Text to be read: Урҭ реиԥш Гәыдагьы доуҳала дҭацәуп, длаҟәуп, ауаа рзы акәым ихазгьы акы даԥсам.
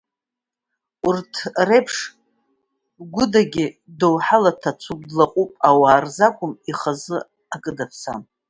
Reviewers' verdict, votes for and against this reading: accepted, 2, 0